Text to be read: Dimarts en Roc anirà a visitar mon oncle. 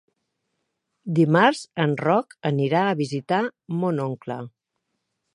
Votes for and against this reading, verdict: 3, 0, accepted